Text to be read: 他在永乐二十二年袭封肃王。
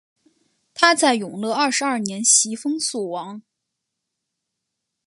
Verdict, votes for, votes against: accepted, 6, 0